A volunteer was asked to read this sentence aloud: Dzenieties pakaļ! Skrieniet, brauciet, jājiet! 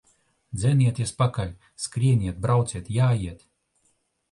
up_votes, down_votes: 2, 1